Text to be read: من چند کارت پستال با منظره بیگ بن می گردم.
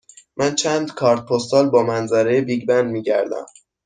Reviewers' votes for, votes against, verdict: 2, 0, accepted